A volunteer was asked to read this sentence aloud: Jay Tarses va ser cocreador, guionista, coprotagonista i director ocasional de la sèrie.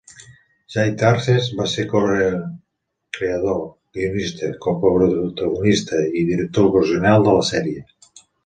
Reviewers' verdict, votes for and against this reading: rejected, 0, 2